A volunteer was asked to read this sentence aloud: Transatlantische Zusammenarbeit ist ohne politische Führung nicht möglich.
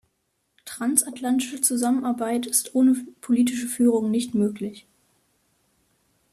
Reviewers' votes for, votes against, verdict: 1, 2, rejected